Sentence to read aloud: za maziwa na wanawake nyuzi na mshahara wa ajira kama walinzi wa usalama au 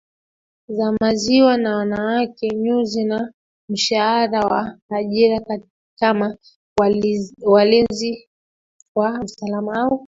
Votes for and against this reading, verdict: 2, 1, accepted